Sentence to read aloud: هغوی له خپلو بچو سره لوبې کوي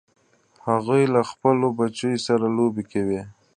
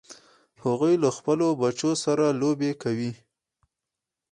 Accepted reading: first